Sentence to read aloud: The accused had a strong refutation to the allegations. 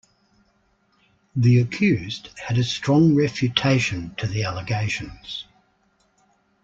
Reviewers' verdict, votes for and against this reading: accepted, 2, 0